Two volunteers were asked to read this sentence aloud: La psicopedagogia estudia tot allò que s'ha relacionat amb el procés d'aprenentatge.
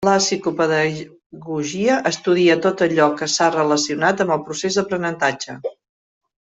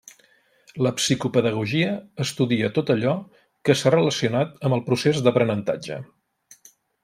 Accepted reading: second